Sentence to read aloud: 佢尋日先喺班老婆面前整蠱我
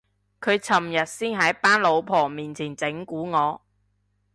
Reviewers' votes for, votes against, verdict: 4, 0, accepted